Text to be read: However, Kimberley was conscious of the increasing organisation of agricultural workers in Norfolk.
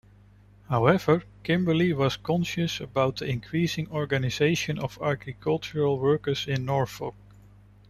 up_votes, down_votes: 1, 2